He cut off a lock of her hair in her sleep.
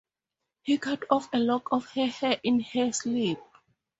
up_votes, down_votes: 4, 0